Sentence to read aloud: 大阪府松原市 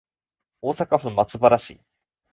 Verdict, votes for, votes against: accepted, 3, 0